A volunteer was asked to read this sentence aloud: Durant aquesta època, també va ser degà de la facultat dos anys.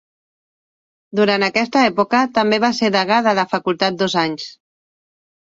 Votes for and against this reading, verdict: 2, 0, accepted